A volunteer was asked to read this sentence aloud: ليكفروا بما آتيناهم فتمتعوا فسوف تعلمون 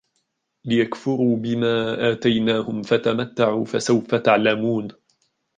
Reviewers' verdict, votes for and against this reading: rejected, 1, 2